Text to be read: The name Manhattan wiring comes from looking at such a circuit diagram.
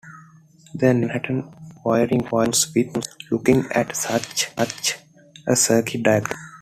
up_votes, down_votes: 1, 2